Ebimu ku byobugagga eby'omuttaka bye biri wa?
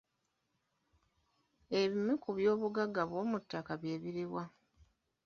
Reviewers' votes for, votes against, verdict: 2, 0, accepted